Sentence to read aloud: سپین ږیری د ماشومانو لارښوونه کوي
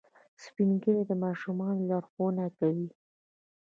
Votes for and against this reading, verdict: 1, 2, rejected